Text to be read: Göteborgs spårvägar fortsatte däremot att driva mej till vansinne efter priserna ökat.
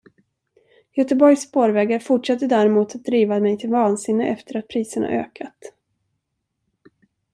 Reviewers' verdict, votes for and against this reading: rejected, 1, 2